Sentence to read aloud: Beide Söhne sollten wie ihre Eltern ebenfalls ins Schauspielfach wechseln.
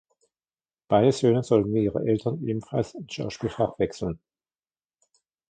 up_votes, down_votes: 1, 2